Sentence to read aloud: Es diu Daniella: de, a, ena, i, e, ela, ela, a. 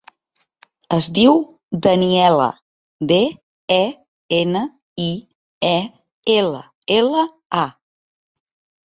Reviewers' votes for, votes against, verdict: 0, 2, rejected